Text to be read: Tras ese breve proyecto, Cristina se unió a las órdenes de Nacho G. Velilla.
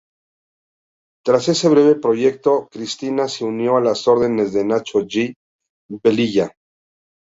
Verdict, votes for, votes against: rejected, 0, 2